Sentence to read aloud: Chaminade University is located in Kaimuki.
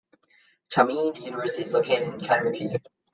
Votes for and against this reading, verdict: 0, 2, rejected